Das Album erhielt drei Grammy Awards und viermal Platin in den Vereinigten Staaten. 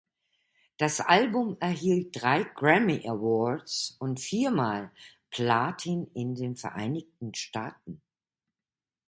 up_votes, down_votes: 2, 0